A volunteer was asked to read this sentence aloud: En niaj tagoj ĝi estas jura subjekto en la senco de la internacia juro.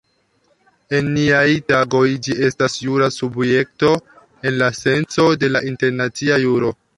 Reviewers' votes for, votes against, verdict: 1, 2, rejected